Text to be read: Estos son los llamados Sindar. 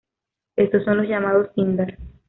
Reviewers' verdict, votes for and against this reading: accepted, 2, 0